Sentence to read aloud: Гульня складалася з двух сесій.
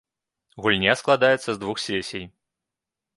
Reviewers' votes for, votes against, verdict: 0, 2, rejected